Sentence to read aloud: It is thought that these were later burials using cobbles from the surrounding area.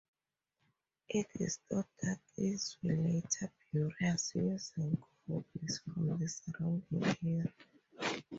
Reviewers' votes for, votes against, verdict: 0, 2, rejected